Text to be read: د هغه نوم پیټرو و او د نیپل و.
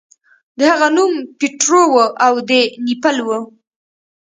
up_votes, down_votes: 2, 0